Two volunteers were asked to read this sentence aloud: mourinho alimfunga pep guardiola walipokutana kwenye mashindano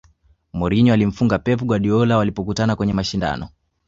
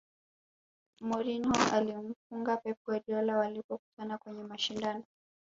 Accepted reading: first